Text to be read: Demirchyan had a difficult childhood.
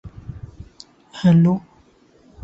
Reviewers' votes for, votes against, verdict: 0, 2, rejected